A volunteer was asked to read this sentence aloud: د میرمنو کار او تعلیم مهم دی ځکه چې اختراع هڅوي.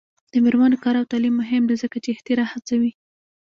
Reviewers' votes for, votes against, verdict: 0, 2, rejected